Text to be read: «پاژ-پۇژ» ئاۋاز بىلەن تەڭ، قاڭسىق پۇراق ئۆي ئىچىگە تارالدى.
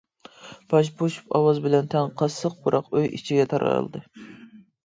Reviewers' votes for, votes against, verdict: 0, 2, rejected